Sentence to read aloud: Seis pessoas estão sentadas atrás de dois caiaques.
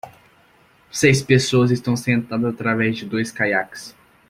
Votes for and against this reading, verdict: 0, 2, rejected